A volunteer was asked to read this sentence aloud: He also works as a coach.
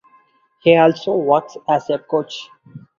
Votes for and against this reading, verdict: 4, 0, accepted